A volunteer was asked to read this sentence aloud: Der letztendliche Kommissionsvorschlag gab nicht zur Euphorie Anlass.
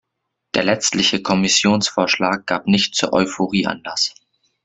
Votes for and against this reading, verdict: 1, 2, rejected